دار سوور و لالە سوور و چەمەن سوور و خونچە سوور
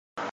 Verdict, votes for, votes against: rejected, 0, 2